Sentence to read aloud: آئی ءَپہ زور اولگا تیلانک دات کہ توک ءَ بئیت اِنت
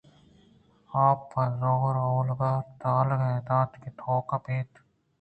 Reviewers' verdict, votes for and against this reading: accepted, 2, 0